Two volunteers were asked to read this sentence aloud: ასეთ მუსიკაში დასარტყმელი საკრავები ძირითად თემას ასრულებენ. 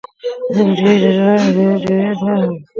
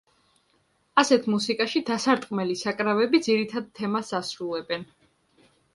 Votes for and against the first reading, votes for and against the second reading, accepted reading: 0, 2, 2, 0, second